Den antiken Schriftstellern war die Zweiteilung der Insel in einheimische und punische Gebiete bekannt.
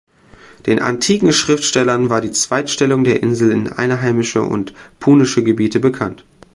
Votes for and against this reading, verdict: 2, 3, rejected